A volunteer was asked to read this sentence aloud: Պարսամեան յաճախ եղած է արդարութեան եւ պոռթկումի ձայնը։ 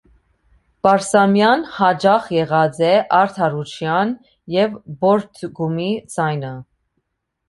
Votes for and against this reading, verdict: 2, 1, accepted